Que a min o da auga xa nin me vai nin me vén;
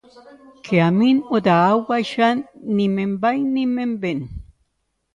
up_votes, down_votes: 0, 2